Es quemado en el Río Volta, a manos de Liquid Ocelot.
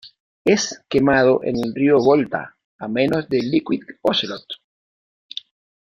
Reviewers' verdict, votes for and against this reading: accepted, 2, 0